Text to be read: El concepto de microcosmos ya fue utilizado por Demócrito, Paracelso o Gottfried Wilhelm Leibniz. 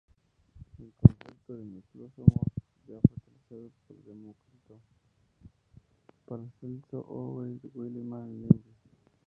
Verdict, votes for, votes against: rejected, 0, 2